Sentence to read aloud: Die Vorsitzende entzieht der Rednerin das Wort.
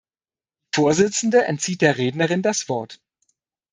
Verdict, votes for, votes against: rejected, 0, 2